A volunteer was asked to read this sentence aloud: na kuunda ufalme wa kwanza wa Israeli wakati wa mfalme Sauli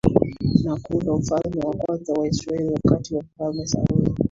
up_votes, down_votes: 1, 2